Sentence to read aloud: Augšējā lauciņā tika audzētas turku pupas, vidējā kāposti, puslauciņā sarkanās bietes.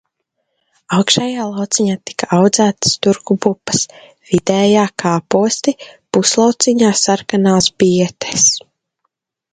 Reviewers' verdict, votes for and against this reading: accepted, 2, 0